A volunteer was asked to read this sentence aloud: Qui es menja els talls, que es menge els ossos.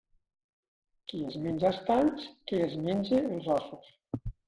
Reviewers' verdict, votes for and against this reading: rejected, 1, 2